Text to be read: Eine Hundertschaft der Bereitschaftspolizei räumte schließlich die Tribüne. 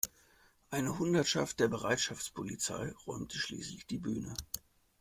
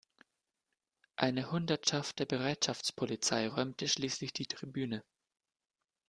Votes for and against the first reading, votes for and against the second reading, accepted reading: 1, 2, 2, 0, second